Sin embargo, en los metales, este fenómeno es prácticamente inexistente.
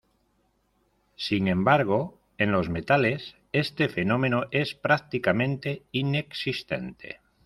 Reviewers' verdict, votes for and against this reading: accepted, 2, 0